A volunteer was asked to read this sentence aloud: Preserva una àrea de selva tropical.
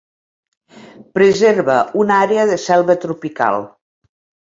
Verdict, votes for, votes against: accepted, 2, 1